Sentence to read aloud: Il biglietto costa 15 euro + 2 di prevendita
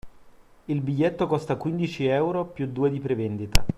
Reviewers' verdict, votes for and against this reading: rejected, 0, 2